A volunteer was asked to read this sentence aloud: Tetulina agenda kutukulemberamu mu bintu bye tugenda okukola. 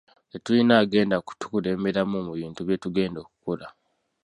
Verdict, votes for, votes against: rejected, 0, 2